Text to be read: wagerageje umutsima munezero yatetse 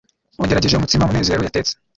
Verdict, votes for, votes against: rejected, 1, 2